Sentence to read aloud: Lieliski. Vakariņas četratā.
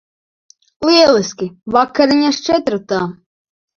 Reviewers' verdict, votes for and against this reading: rejected, 1, 2